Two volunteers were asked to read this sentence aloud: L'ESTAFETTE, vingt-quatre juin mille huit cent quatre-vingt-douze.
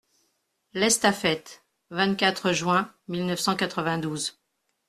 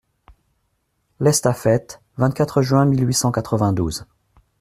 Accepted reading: second